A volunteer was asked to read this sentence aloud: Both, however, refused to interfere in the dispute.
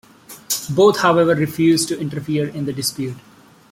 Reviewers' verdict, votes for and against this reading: accepted, 2, 0